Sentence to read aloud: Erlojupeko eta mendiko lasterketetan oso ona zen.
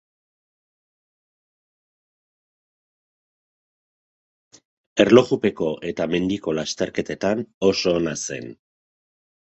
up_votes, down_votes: 2, 0